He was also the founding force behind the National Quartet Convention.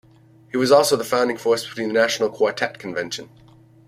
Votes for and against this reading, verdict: 2, 3, rejected